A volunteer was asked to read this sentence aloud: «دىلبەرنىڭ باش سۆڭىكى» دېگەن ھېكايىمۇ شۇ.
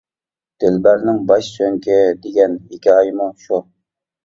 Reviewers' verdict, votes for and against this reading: rejected, 0, 2